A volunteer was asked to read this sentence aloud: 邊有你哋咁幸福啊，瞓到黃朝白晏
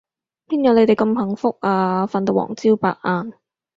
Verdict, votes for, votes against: accepted, 4, 0